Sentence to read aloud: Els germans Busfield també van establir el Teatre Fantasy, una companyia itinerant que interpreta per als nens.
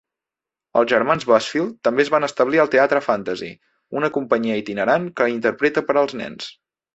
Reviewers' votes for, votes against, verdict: 0, 2, rejected